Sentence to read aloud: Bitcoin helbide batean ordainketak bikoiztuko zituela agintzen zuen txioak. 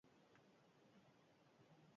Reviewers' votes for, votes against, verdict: 0, 8, rejected